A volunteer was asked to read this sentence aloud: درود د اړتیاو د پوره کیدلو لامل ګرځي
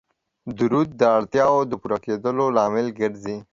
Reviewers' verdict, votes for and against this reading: accepted, 2, 0